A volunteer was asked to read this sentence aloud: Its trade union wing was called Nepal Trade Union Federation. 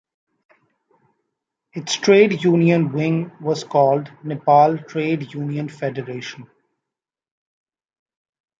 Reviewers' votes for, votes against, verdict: 2, 0, accepted